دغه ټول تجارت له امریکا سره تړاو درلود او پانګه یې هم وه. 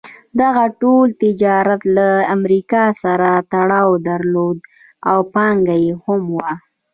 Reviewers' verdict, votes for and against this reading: accepted, 2, 0